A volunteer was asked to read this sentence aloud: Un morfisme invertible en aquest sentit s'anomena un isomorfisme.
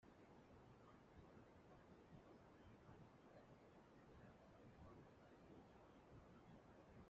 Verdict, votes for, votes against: rejected, 0, 2